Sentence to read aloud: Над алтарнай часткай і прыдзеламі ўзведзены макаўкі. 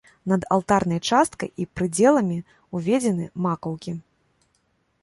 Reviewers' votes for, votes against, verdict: 2, 1, accepted